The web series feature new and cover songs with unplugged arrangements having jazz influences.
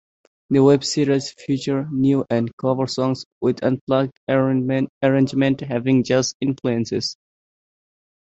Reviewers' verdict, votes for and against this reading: rejected, 1, 2